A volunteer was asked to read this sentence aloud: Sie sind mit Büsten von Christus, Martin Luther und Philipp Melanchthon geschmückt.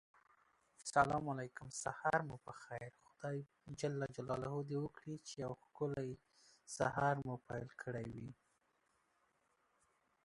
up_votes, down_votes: 0, 2